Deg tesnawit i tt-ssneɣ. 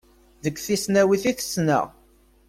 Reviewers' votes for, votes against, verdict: 1, 2, rejected